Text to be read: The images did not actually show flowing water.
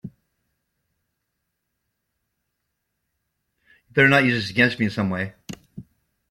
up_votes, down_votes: 0, 2